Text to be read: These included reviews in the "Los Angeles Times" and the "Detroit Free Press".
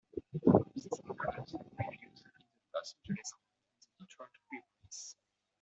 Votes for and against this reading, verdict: 0, 2, rejected